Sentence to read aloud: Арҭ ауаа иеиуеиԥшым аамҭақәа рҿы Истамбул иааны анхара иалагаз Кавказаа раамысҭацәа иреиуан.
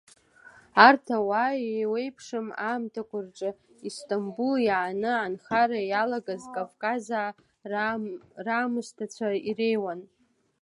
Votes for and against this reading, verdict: 1, 2, rejected